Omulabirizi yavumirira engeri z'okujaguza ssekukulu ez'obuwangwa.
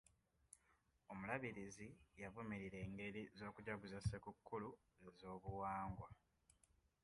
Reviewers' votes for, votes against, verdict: 2, 0, accepted